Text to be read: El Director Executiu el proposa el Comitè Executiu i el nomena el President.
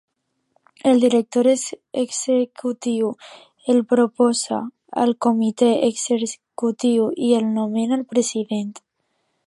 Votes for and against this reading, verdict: 0, 2, rejected